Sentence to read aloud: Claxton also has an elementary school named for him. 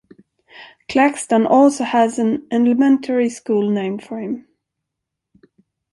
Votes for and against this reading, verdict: 1, 2, rejected